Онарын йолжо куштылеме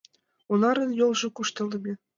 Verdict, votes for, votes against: rejected, 0, 2